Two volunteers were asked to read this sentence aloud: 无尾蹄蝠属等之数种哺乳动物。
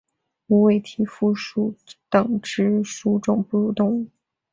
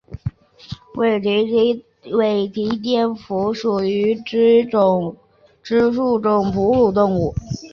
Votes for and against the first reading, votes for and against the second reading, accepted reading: 2, 0, 0, 2, first